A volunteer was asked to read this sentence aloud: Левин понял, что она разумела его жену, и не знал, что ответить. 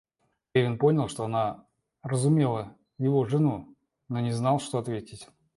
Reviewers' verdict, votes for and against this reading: accepted, 2, 1